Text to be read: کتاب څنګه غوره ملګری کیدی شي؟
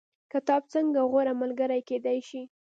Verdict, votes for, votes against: rejected, 1, 2